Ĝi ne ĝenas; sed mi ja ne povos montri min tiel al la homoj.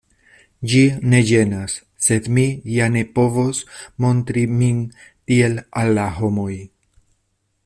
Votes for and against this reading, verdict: 2, 0, accepted